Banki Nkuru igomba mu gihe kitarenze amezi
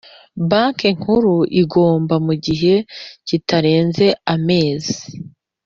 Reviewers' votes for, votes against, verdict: 2, 0, accepted